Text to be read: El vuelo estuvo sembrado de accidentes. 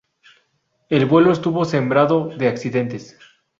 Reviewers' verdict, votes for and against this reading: rejected, 0, 2